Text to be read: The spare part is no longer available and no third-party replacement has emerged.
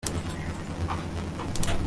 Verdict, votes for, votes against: rejected, 0, 2